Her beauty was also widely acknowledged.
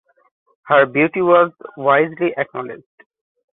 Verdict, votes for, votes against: rejected, 0, 2